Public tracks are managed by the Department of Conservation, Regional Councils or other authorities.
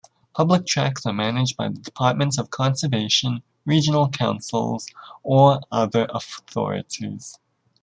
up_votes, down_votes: 2, 0